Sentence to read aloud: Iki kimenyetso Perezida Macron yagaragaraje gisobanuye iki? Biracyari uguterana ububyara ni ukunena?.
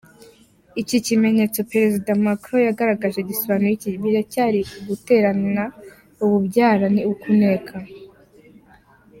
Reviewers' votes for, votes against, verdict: 2, 1, accepted